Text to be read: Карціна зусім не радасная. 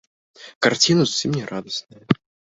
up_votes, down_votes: 2, 1